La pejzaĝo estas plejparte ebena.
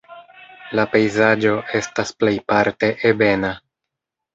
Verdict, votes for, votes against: rejected, 1, 2